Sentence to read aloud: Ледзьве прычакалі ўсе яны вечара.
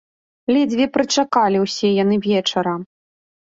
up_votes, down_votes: 2, 0